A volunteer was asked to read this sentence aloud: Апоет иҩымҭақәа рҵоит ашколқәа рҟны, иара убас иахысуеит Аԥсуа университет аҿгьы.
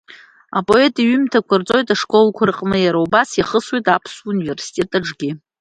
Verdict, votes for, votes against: accepted, 2, 0